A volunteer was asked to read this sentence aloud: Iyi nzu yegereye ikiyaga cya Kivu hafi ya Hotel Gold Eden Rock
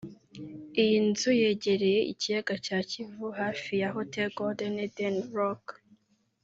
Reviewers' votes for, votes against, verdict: 1, 2, rejected